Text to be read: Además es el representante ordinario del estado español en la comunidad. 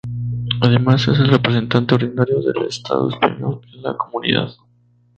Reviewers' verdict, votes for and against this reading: rejected, 2, 2